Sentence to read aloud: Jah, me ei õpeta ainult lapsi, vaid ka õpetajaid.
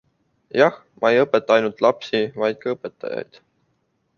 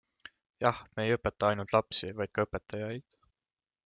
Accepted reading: second